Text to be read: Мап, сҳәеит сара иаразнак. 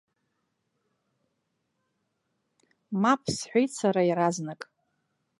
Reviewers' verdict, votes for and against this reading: rejected, 1, 2